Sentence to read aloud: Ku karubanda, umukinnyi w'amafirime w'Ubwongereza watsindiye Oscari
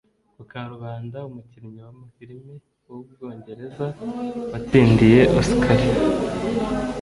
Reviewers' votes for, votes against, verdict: 0, 2, rejected